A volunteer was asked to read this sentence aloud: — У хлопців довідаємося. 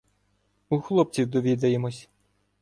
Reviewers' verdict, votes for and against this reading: rejected, 1, 2